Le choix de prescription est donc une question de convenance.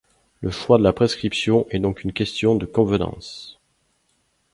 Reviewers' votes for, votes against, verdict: 0, 2, rejected